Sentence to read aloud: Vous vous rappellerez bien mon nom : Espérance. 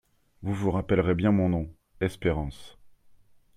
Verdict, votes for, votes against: accepted, 2, 0